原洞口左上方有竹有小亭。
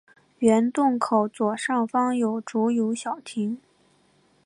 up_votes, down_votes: 3, 1